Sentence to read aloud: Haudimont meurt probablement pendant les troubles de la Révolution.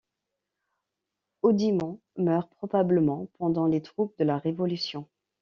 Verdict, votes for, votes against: accepted, 2, 0